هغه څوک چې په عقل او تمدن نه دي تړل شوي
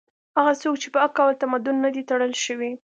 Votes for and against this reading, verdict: 2, 0, accepted